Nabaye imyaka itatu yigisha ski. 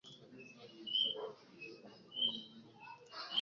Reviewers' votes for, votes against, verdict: 0, 2, rejected